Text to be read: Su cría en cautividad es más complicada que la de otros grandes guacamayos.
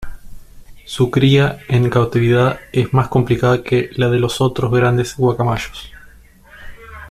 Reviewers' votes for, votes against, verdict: 2, 0, accepted